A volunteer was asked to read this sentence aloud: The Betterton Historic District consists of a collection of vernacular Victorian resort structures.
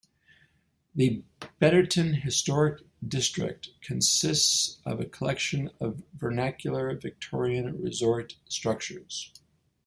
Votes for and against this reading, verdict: 2, 0, accepted